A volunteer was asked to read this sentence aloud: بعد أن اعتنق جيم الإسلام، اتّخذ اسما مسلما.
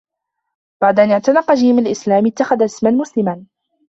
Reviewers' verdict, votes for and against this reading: accepted, 2, 1